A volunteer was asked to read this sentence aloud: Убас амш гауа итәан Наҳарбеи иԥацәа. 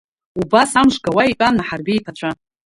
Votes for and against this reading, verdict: 2, 1, accepted